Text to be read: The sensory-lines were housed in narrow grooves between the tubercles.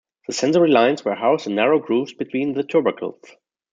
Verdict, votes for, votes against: accepted, 2, 0